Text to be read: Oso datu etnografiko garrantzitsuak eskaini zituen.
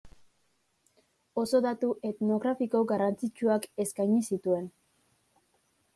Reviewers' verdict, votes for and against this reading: accepted, 2, 0